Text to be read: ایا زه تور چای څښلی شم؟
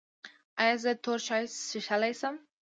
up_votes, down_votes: 2, 0